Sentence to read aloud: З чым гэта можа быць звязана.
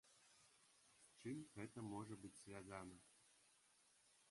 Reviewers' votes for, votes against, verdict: 1, 2, rejected